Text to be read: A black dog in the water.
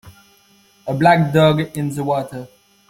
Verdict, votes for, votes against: accepted, 2, 1